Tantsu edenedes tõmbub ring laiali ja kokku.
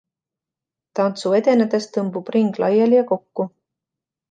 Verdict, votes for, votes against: accepted, 2, 0